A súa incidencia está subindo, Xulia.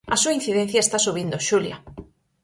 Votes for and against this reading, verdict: 4, 0, accepted